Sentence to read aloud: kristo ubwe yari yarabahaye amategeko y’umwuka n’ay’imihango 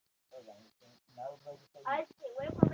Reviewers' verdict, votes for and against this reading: rejected, 0, 2